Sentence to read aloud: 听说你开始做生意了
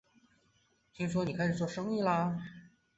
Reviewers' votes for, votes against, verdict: 2, 1, accepted